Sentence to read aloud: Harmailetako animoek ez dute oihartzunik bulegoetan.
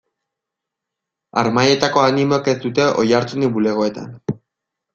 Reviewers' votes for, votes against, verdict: 1, 2, rejected